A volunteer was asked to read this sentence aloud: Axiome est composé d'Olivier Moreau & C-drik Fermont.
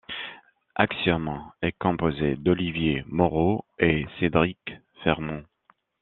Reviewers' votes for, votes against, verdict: 2, 0, accepted